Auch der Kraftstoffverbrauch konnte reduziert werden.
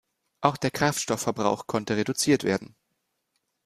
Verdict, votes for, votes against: accepted, 2, 0